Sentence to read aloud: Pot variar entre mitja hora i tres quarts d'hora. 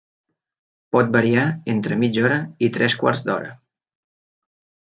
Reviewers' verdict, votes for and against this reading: accepted, 3, 0